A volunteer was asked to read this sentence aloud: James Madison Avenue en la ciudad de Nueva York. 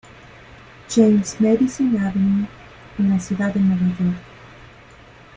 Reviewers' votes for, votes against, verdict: 1, 2, rejected